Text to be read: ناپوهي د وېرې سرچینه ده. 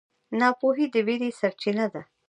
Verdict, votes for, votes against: rejected, 0, 2